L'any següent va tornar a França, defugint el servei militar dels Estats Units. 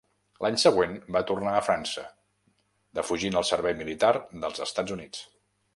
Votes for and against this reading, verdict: 3, 0, accepted